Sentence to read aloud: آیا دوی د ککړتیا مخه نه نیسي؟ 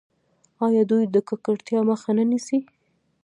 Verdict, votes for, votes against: rejected, 0, 2